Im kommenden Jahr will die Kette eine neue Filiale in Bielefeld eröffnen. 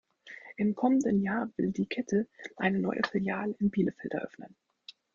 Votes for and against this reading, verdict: 1, 2, rejected